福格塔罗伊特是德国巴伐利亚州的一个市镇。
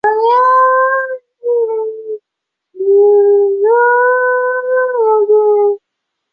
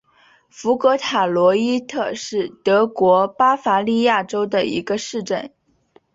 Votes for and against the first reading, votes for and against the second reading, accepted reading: 0, 5, 5, 0, second